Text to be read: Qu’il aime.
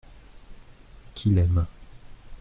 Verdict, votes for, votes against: accepted, 2, 0